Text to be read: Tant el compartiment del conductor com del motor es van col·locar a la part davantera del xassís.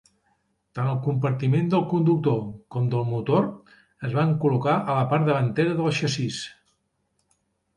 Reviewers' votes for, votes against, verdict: 2, 0, accepted